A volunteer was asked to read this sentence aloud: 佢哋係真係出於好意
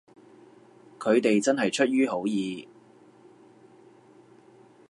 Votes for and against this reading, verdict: 1, 2, rejected